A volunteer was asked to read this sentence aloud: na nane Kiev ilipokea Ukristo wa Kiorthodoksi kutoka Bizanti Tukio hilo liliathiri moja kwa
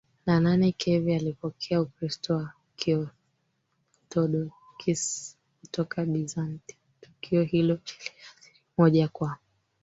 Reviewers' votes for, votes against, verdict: 1, 3, rejected